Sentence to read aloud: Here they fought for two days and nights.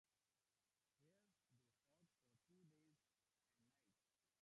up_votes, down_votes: 1, 3